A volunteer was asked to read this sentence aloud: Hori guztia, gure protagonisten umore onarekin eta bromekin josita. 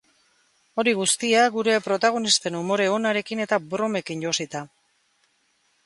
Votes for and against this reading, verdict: 2, 0, accepted